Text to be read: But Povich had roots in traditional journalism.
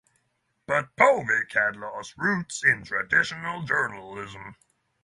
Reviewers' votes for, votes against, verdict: 0, 3, rejected